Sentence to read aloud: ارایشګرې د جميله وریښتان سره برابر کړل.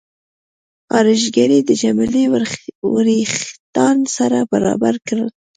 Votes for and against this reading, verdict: 2, 0, accepted